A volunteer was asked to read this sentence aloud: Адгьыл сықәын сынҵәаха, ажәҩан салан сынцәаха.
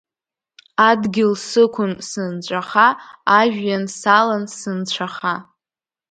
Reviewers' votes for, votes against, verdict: 3, 0, accepted